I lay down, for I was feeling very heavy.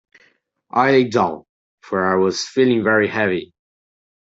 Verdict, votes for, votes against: rejected, 0, 2